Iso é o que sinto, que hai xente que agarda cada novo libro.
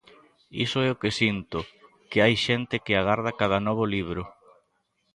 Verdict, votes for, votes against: accepted, 2, 0